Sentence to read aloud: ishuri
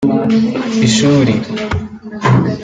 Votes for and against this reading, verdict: 2, 0, accepted